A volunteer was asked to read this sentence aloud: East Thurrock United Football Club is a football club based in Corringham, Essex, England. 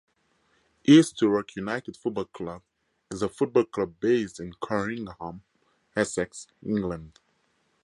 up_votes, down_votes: 2, 0